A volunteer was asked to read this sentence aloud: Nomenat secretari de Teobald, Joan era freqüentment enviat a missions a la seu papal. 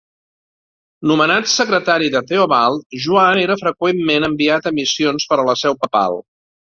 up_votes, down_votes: 0, 2